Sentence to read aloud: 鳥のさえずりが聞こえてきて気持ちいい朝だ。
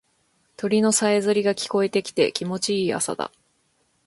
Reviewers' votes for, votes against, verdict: 1, 2, rejected